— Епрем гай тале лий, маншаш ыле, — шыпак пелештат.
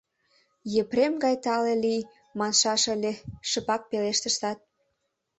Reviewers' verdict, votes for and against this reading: accepted, 2, 1